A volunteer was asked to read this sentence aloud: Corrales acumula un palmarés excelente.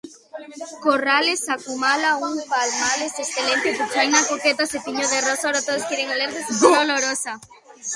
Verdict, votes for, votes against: rejected, 0, 2